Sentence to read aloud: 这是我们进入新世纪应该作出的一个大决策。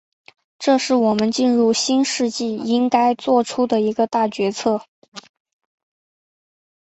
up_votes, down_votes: 2, 0